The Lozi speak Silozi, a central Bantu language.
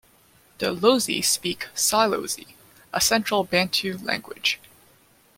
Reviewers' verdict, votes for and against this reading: accepted, 2, 1